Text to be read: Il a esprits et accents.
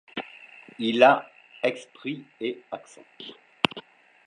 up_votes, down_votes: 0, 2